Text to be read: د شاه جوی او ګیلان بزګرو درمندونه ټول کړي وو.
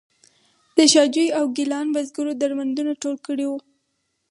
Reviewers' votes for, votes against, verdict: 4, 0, accepted